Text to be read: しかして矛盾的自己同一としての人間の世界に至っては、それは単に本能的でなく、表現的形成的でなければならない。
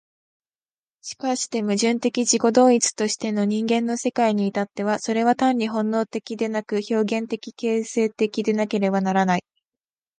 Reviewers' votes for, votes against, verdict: 3, 0, accepted